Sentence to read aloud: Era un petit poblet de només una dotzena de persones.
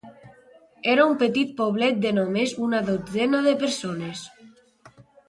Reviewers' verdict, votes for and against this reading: accepted, 2, 0